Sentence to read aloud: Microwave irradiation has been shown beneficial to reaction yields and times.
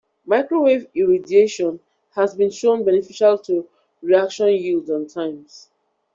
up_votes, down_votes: 2, 1